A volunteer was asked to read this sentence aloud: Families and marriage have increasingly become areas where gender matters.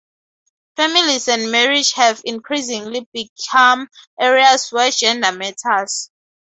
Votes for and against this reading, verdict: 2, 2, rejected